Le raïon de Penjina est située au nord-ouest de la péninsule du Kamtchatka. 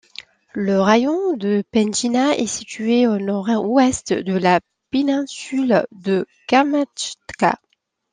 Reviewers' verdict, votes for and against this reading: rejected, 1, 2